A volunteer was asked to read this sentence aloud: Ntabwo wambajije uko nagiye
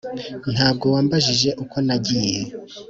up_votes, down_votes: 2, 0